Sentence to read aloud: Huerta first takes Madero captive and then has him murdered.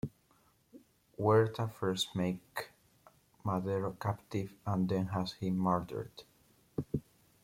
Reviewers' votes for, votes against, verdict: 1, 2, rejected